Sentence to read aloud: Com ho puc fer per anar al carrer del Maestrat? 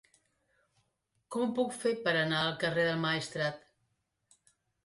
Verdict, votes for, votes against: accepted, 3, 1